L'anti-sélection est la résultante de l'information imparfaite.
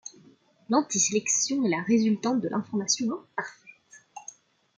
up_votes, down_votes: 2, 1